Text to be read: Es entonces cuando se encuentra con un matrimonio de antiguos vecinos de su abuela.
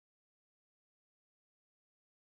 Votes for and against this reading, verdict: 0, 2, rejected